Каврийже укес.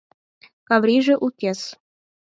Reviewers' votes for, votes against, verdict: 4, 0, accepted